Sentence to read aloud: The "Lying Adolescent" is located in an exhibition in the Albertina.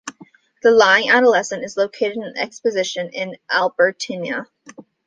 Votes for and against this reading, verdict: 0, 2, rejected